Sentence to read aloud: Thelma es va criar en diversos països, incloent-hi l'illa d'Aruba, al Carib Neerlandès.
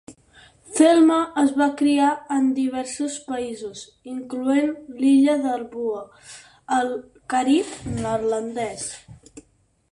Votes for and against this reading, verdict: 0, 4, rejected